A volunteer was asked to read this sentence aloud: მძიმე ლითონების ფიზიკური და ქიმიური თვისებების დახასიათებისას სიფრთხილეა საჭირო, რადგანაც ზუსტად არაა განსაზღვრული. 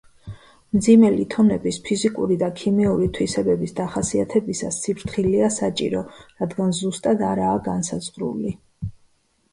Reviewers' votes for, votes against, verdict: 0, 2, rejected